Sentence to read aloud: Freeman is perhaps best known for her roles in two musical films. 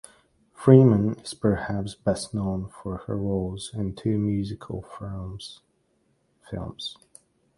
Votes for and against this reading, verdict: 0, 2, rejected